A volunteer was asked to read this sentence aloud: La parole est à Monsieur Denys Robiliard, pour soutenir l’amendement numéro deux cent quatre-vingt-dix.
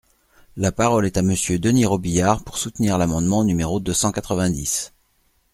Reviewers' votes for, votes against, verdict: 3, 0, accepted